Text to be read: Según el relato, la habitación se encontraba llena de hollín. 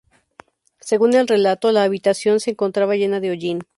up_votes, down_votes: 2, 0